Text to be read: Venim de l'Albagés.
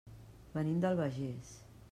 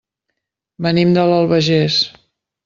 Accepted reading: second